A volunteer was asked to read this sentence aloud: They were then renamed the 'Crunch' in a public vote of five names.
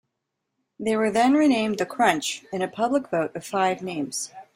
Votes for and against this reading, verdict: 2, 0, accepted